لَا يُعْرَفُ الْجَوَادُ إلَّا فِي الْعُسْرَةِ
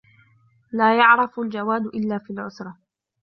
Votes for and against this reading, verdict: 0, 2, rejected